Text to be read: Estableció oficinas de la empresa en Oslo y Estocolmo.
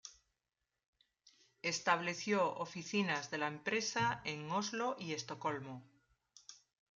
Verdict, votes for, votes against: accepted, 2, 0